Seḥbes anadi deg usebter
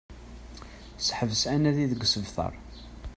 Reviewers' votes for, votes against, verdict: 1, 2, rejected